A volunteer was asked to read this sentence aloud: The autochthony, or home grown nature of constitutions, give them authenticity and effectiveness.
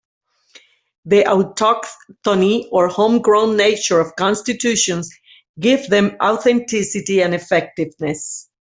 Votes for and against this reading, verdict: 1, 2, rejected